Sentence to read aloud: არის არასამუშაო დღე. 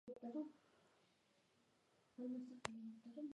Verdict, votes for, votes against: rejected, 1, 2